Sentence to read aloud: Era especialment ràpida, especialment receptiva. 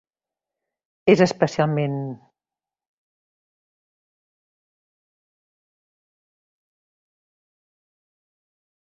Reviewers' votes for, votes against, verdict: 0, 2, rejected